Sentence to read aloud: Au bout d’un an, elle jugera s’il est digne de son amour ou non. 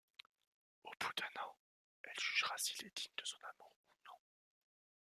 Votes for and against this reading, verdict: 0, 2, rejected